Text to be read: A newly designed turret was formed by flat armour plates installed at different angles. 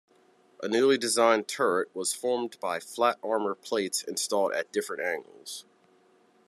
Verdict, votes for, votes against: accepted, 2, 0